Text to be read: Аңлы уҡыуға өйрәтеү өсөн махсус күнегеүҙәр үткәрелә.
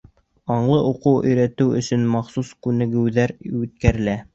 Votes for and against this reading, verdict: 0, 2, rejected